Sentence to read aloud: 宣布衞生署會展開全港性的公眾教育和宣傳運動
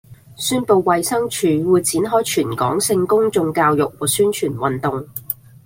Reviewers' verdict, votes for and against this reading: accepted, 2, 0